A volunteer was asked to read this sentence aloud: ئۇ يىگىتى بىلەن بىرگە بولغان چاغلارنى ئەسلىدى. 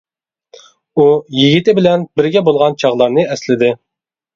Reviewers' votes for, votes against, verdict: 2, 0, accepted